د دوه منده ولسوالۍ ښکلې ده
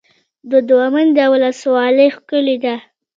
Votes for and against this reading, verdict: 2, 1, accepted